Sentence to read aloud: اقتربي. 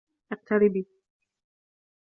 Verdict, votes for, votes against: accepted, 2, 0